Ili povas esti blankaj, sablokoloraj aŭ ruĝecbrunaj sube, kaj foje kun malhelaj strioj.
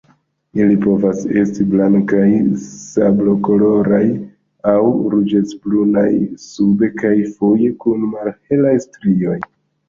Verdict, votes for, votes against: rejected, 0, 2